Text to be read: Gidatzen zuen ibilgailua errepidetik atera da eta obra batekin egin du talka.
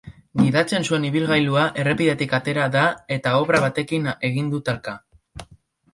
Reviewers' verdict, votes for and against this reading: rejected, 2, 3